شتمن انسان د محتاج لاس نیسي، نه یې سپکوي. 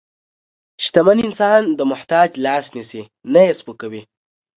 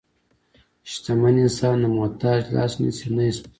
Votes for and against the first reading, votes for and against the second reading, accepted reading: 2, 0, 0, 2, first